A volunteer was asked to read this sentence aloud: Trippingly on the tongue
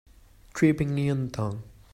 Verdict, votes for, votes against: rejected, 1, 2